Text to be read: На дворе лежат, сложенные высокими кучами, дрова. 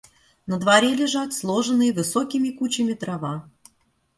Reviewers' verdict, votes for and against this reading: accepted, 2, 0